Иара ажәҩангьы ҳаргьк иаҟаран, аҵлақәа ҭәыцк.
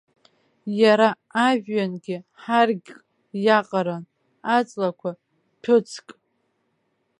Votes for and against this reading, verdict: 2, 0, accepted